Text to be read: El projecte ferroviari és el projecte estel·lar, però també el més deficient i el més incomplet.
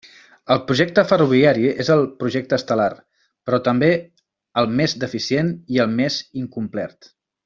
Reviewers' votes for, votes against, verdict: 1, 2, rejected